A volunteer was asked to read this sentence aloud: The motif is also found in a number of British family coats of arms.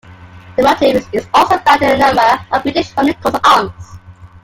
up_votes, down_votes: 2, 1